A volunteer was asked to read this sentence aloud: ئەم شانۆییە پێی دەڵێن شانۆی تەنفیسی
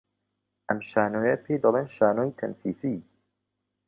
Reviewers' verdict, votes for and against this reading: accepted, 2, 0